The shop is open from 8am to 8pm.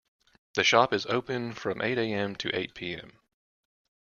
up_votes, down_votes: 0, 2